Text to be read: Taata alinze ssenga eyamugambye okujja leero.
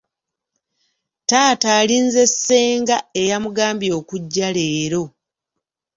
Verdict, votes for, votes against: accepted, 2, 0